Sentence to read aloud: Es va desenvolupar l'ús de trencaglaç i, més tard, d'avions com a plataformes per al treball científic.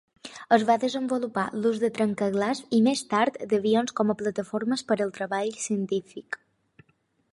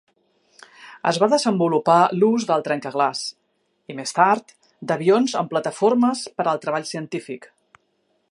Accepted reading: first